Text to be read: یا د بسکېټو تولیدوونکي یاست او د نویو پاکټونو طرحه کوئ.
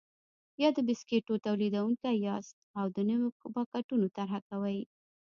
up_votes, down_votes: 1, 2